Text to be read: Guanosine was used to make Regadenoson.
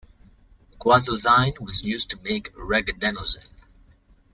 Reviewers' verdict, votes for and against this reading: rejected, 1, 2